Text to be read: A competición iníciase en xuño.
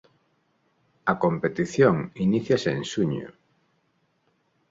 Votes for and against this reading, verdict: 2, 0, accepted